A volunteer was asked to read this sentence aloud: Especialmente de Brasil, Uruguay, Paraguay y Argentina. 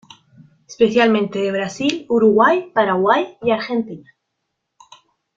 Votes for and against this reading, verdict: 1, 2, rejected